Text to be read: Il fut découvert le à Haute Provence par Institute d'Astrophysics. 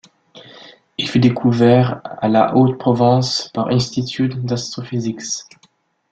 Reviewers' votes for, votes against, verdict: 0, 2, rejected